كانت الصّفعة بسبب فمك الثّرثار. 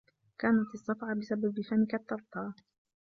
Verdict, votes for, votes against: rejected, 1, 2